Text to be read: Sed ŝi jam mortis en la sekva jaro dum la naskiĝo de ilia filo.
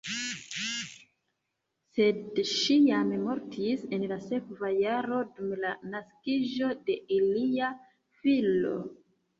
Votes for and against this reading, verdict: 1, 2, rejected